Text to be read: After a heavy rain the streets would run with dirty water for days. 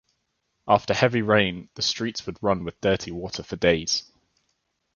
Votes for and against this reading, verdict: 3, 2, accepted